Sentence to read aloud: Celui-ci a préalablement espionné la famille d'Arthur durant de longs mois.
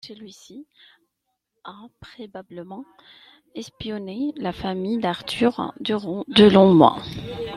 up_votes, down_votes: 1, 2